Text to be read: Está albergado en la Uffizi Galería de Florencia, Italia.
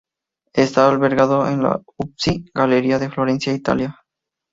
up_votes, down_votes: 2, 0